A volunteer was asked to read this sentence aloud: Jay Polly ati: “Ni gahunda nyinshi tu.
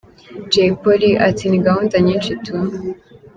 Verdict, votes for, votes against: accepted, 3, 1